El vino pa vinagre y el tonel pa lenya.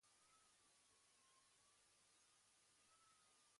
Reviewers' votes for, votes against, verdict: 1, 2, rejected